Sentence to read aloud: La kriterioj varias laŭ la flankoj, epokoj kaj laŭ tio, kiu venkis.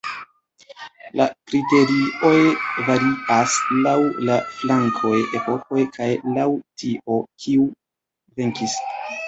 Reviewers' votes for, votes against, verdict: 0, 2, rejected